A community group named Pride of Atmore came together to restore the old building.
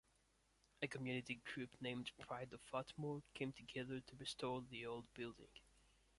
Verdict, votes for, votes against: accepted, 2, 1